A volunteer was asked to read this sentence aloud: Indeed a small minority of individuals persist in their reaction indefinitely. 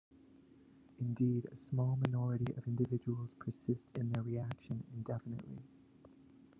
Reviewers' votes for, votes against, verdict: 2, 0, accepted